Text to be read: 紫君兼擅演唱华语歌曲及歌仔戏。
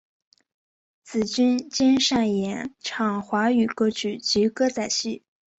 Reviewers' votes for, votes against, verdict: 2, 0, accepted